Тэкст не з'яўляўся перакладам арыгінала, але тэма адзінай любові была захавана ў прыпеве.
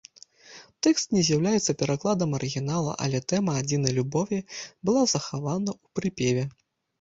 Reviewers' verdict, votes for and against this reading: rejected, 1, 2